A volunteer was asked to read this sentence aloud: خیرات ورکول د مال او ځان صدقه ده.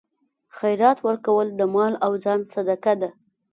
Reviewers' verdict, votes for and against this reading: accepted, 2, 0